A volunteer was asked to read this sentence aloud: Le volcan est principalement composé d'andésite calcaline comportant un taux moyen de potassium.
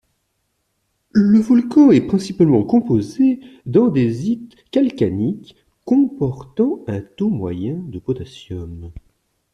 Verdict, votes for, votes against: accepted, 2, 0